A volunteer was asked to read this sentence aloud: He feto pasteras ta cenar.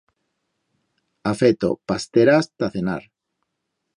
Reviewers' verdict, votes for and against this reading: rejected, 1, 2